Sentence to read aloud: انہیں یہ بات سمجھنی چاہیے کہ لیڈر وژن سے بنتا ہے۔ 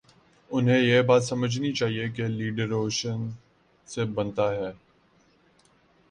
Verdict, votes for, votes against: rejected, 1, 2